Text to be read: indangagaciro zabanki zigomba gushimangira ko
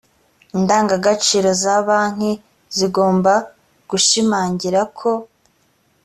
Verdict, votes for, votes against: accepted, 2, 0